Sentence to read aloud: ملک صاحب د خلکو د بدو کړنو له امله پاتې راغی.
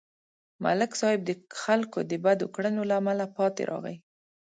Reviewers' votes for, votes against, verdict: 2, 0, accepted